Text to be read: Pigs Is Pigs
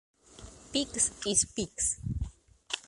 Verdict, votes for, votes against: rejected, 1, 2